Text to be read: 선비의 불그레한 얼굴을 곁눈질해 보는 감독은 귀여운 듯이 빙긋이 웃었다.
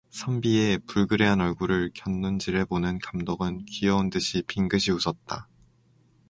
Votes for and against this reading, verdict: 4, 0, accepted